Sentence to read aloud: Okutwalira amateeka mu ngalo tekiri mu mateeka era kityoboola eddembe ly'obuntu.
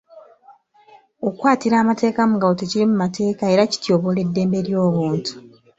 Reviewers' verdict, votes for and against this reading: rejected, 1, 2